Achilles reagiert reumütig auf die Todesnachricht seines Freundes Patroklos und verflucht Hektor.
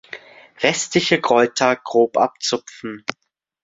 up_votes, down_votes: 0, 2